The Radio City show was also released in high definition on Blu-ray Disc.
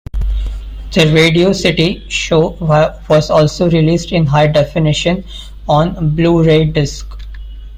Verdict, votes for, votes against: rejected, 0, 2